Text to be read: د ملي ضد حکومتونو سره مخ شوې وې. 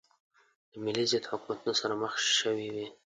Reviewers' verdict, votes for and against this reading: accepted, 2, 0